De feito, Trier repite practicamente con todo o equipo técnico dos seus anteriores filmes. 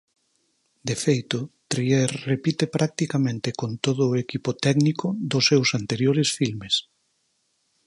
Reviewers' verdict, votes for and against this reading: accepted, 4, 0